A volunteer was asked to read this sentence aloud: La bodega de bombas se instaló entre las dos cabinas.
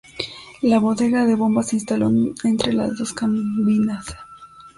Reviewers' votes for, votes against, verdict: 1, 2, rejected